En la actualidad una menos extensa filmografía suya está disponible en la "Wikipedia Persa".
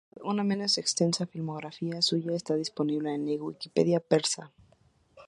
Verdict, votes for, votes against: rejected, 0, 2